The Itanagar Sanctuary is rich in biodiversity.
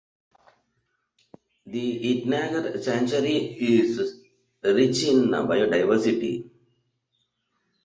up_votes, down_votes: 0, 2